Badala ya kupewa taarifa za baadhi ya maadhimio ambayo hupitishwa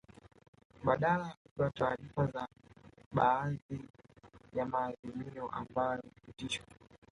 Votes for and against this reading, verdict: 0, 2, rejected